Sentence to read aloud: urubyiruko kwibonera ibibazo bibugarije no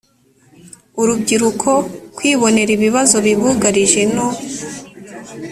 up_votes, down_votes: 2, 0